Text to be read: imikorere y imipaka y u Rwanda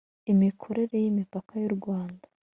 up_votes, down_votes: 2, 0